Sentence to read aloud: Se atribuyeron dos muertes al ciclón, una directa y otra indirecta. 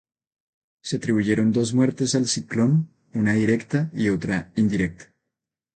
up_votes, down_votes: 2, 0